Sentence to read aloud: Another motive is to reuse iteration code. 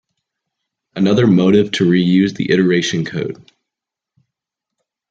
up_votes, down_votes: 0, 2